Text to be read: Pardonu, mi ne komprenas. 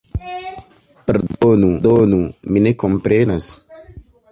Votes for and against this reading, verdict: 0, 2, rejected